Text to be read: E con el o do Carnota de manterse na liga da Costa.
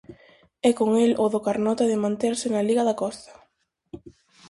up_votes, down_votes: 4, 0